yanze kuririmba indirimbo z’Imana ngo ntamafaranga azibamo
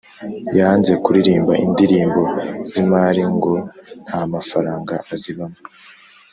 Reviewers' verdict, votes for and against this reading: rejected, 0, 2